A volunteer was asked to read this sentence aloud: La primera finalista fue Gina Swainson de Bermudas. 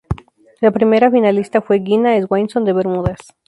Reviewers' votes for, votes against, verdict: 4, 0, accepted